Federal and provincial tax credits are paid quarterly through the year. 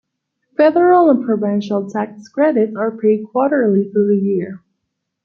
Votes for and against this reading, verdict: 2, 0, accepted